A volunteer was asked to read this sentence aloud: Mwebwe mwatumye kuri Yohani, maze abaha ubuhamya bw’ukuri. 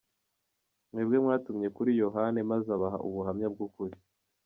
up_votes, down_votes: 2, 0